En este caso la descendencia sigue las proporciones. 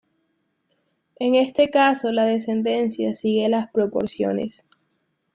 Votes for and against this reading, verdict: 2, 0, accepted